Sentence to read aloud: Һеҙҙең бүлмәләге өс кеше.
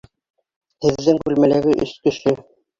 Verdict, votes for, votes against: rejected, 0, 2